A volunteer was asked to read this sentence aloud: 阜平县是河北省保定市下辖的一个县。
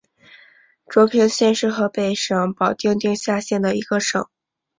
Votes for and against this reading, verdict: 0, 3, rejected